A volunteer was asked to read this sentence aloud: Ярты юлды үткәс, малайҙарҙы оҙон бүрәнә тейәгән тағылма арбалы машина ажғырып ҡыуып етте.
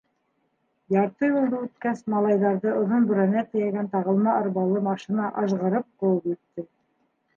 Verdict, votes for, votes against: accepted, 2, 0